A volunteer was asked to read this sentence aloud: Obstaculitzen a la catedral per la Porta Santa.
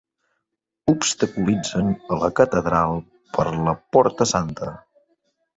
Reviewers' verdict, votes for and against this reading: accepted, 3, 1